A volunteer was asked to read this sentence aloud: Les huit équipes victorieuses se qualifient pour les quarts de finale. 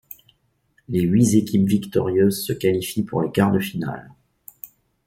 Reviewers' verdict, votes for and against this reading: rejected, 1, 2